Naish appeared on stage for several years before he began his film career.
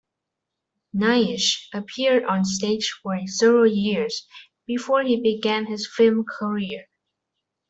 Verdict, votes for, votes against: rejected, 1, 2